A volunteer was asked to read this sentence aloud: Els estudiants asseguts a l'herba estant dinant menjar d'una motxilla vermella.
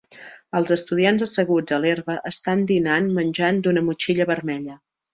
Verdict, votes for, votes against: rejected, 0, 3